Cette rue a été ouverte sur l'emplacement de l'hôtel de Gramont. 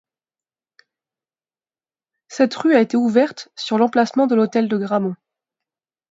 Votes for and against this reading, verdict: 2, 0, accepted